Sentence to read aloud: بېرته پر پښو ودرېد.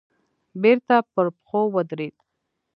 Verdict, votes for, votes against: accepted, 2, 0